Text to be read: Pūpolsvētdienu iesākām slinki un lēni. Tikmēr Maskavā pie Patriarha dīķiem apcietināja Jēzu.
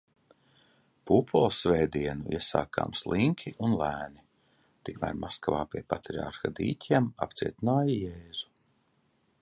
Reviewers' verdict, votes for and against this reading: accepted, 2, 0